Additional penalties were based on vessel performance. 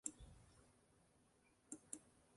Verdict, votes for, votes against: rejected, 0, 2